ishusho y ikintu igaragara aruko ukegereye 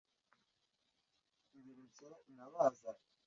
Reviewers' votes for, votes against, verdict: 0, 2, rejected